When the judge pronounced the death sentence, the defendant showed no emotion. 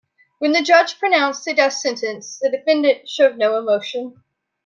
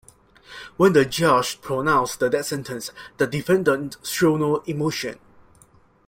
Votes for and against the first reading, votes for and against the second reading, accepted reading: 3, 0, 1, 2, first